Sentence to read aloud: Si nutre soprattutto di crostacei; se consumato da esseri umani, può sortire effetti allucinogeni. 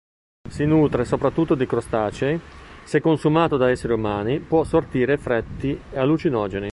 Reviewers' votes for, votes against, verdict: 0, 2, rejected